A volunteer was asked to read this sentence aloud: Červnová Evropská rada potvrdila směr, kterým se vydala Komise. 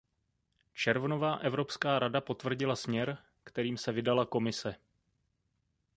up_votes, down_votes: 0, 2